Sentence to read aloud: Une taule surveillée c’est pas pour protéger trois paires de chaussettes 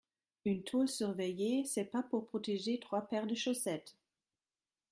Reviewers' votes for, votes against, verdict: 3, 1, accepted